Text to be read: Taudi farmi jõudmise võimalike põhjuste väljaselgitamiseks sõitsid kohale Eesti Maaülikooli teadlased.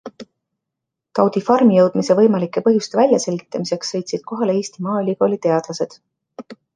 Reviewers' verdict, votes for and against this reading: rejected, 1, 2